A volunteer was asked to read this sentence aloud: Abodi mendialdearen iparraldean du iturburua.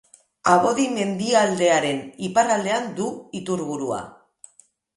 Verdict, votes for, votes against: accepted, 2, 0